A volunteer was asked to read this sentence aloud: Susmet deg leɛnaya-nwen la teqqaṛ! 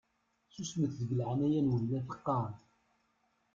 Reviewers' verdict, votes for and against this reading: rejected, 0, 2